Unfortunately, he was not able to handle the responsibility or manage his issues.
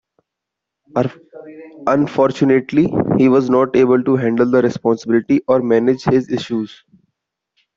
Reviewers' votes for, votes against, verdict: 2, 1, accepted